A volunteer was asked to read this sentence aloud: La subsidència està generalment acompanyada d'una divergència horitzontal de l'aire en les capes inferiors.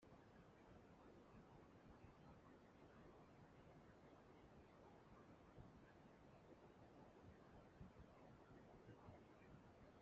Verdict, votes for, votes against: rejected, 0, 2